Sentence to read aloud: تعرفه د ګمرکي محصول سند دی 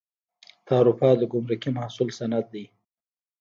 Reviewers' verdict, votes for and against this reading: rejected, 1, 2